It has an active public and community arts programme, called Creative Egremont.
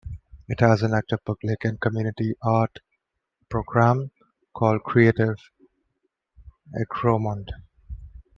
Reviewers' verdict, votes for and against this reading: rejected, 0, 2